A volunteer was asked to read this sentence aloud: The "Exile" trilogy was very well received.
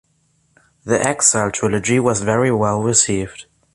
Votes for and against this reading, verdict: 2, 0, accepted